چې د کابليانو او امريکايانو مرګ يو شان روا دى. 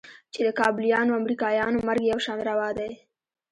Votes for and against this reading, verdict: 0, 2, rejected